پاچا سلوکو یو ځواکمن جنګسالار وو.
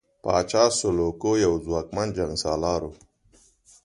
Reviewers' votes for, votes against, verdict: 2, 0, accepted